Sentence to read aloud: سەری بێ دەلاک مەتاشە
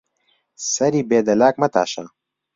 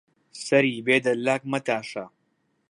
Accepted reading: second